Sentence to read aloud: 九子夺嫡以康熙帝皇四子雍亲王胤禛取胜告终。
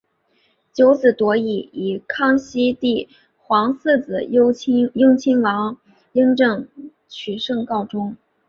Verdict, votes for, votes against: rejected, 1, 2